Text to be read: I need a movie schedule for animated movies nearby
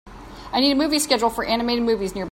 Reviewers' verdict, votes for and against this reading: rejected, 0, 2